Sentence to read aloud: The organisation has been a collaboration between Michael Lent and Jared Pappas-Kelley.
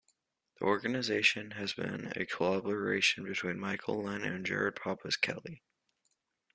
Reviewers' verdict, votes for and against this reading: accepted, 2, 0